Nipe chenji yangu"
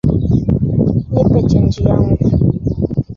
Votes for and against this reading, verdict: 2, 3, rejected